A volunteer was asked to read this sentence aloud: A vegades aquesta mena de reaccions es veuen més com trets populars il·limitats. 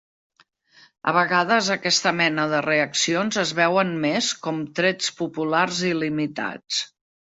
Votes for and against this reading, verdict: 3, 0, accepted